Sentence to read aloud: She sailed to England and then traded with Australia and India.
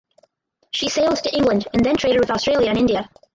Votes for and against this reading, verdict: 0, 4, rejected